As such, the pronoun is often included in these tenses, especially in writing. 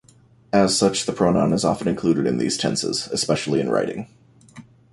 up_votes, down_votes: 2, 1